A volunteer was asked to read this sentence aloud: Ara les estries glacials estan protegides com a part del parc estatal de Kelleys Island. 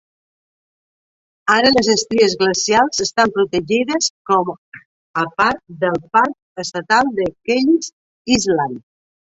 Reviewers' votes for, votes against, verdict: 1, 2, rejected